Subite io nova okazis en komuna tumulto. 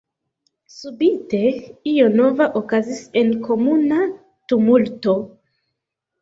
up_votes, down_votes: 2, 1